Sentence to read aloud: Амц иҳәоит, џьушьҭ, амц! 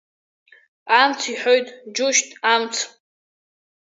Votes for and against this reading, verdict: 2, 1, accepted